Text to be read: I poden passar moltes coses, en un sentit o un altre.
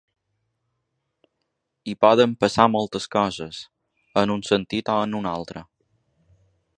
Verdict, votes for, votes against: rejected, 1, 2